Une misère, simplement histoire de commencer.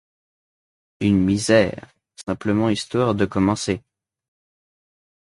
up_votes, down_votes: 2, 0